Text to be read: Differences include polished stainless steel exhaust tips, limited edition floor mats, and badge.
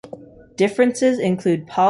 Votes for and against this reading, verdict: 0, 2, rejected